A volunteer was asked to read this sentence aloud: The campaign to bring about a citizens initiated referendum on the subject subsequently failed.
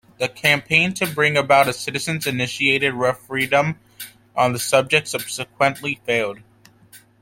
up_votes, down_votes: 0, 2